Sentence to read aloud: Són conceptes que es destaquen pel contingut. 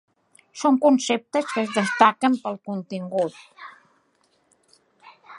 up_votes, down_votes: 3, 0